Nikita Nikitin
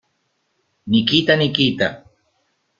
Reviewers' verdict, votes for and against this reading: rejected, 0, 2